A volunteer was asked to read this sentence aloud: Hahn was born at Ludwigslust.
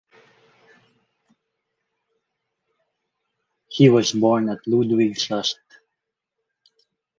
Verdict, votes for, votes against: rejected, 0, 4